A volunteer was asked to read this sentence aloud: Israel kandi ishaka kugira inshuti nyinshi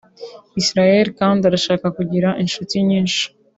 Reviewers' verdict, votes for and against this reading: rejected, 1, 2